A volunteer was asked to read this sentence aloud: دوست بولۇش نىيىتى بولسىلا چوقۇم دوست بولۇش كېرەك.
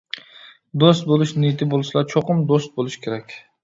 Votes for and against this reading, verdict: 2, 0, accepted